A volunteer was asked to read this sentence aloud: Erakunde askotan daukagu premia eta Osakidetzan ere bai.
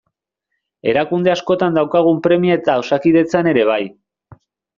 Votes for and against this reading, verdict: 0, 2, rejected